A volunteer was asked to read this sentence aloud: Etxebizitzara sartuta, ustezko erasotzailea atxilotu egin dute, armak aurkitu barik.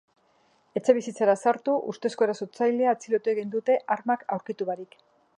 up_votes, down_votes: 0, 3